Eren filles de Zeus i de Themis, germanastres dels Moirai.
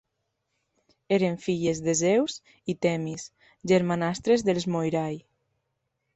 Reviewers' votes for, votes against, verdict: 0, 2, rejected